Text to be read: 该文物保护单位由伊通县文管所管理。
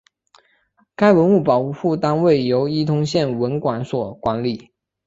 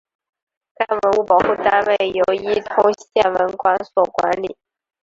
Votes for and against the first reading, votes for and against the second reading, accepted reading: 5, 0, 2, 3, first